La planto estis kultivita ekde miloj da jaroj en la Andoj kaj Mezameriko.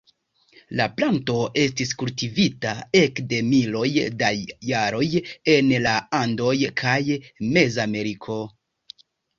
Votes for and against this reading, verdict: 2, 0, accepted